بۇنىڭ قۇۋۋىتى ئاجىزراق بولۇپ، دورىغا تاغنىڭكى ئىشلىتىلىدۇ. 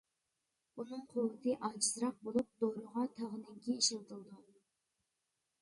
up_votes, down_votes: 0, 2